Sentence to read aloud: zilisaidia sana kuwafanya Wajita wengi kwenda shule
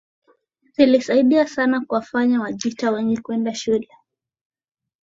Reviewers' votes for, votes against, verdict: 3, 0, accepted